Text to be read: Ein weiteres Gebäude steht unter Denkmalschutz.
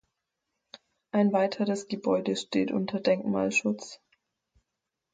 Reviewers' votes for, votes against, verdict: 4, 0, accepted